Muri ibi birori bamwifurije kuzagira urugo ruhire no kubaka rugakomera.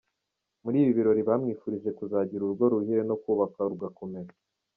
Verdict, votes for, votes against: accepted, 2, 0